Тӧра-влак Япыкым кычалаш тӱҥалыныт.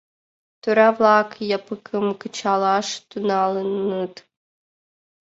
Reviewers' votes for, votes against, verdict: 0, 2, rejected